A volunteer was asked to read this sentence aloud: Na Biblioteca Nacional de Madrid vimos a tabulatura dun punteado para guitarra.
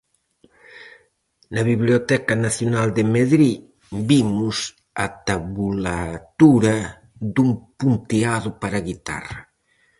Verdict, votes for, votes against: rejected, 0, 4